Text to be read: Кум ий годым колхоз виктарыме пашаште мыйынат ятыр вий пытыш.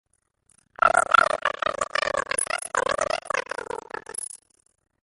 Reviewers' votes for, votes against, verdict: 0, 2, rejected